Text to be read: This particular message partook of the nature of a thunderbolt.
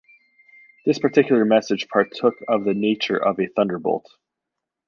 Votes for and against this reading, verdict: 2, 0, accepted